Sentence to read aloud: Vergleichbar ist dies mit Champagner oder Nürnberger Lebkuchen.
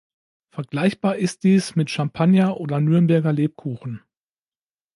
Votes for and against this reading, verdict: 2, 0, accepted